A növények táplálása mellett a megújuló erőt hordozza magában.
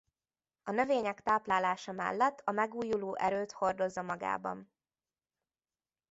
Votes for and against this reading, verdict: 2, 0, accepted